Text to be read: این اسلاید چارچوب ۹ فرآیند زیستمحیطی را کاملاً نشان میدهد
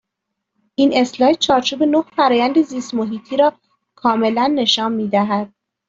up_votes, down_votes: 0, 2